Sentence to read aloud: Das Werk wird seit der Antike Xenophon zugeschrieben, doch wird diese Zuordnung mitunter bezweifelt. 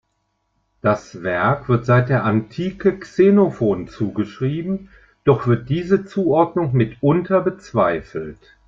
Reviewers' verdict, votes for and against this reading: accepted, 2, 0